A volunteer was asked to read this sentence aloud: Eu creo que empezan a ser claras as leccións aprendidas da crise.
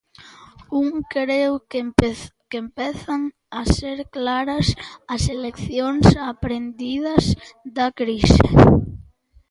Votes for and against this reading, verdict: 0, 2, rejected